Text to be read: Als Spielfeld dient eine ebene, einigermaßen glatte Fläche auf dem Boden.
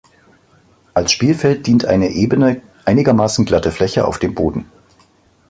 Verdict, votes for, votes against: accepted, 2, 0